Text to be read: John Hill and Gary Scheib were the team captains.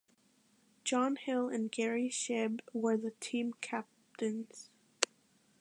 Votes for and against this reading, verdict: 1, 2, rejected